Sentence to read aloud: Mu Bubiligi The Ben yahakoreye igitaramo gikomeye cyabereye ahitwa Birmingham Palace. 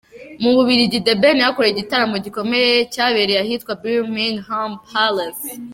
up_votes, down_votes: 2, 1